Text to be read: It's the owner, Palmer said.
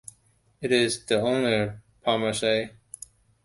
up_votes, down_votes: 1, 2